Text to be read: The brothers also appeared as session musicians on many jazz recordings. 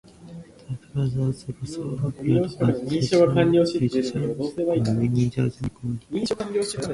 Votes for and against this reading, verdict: 0, 2, rejected